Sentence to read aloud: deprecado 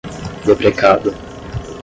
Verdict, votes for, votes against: rejected, 0, 5